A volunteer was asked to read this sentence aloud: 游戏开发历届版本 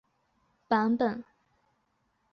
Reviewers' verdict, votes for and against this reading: rejected, 0, 4